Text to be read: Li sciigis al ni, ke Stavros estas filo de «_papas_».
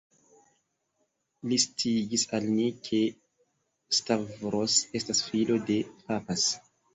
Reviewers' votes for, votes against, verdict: 2, 0, accepted